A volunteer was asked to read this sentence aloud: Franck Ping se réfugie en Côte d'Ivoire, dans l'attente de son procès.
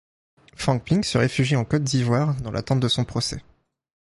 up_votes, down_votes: 2, 0